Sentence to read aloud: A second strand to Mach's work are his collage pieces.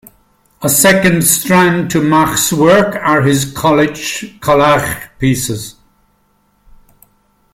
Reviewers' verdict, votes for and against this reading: rejected, 0, 2